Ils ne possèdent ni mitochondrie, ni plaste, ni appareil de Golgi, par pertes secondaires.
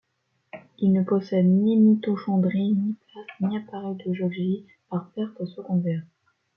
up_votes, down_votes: 0, 2